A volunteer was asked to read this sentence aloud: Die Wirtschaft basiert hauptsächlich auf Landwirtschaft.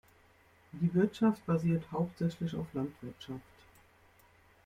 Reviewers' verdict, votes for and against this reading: accepted, 2, 0